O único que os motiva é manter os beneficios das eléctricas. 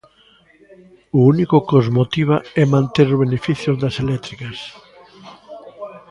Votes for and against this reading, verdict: 2, 0, accepted